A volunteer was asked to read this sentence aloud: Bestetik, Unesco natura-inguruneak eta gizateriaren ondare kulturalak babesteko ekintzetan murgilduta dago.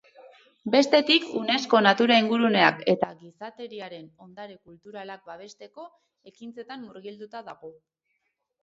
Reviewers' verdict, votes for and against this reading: rejected, 0, 2